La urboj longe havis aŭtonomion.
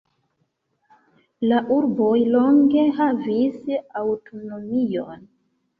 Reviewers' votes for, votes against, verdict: 2, 0, accepted